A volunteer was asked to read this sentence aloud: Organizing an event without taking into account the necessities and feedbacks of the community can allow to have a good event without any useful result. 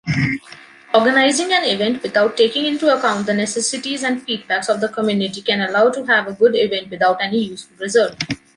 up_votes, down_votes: 2, 0